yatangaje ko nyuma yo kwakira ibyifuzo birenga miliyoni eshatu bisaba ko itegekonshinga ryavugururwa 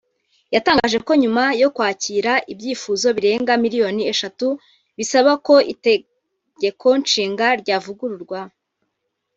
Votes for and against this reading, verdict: 1, 2, rejected